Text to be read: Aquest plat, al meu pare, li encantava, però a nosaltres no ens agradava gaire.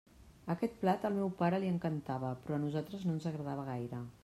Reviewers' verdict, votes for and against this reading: accepted, 3, 0